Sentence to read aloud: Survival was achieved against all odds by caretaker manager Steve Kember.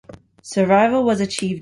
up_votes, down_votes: 0, 2